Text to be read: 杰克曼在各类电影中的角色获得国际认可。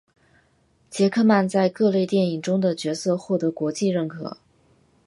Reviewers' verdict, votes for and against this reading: accepted, 7, 0